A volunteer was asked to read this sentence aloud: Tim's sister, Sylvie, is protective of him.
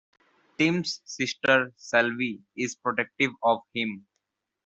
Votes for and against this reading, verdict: 2, 0, accepted